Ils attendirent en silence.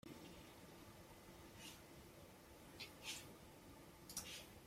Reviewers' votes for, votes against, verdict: 0, 2, rejected